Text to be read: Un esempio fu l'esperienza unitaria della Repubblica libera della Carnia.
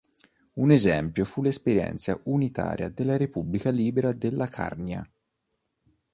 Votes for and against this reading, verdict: 2, 0, accepted